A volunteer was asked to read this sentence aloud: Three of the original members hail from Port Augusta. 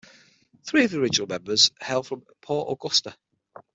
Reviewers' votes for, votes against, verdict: 6, 0, accepted